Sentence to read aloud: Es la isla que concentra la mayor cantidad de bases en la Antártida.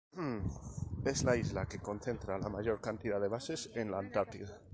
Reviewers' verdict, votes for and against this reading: accepted, 2, 0